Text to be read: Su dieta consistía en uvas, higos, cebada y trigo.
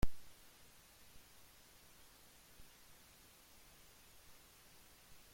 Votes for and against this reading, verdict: 0, 2, rejected